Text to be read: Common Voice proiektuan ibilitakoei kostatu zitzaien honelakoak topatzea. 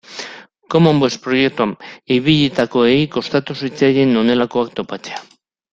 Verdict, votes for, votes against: accepted, 2, 1